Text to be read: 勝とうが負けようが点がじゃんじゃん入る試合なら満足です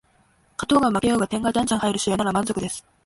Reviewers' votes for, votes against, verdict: 1, 2, rejected